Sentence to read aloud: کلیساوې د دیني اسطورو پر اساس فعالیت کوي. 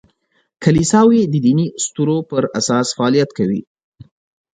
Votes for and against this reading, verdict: 4, 0, accepted